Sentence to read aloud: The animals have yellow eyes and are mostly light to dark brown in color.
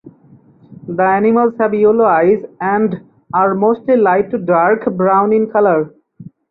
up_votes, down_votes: 4, 2